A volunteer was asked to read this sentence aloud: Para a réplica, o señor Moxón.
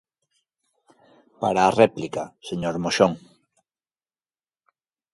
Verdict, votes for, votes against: rejected, 1, 2